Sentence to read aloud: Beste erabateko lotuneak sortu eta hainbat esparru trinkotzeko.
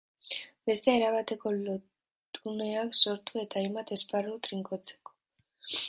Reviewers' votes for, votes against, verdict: 0, 2, rejected